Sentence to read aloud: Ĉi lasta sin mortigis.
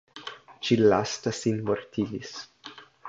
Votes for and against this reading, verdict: 2, 0, accepted